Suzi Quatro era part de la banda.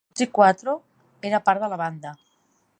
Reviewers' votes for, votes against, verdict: 0, 2, rejected